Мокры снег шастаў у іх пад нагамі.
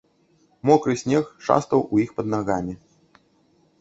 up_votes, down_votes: 2, 0